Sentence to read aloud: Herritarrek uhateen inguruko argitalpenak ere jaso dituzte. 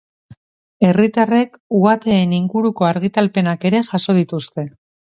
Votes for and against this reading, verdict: 2, 0, accepted